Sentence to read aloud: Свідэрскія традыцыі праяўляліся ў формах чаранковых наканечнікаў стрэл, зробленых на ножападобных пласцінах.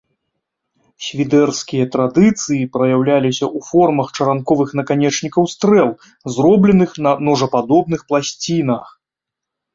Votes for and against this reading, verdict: 2, 0, accepted